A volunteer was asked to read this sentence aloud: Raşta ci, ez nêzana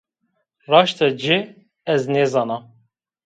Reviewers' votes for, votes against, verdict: 2, 0, accepted